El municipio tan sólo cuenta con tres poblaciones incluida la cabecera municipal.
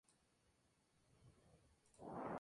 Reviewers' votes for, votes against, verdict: 0, 2, rejected